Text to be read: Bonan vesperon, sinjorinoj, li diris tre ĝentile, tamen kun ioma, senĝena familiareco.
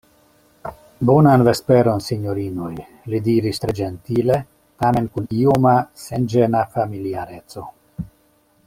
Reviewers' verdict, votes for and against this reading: accepted, 2, 0